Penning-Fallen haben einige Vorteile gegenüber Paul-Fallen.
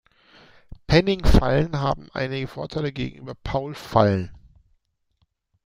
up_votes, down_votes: 2, 0